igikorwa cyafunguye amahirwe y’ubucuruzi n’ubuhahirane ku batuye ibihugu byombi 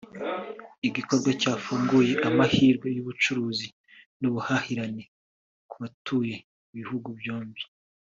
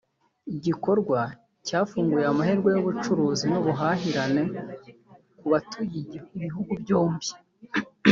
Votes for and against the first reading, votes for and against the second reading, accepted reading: 3, 0, 0, 2, first